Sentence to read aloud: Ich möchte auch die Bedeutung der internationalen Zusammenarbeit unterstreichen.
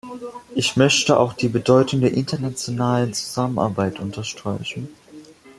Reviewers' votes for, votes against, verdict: 2, 0, accepted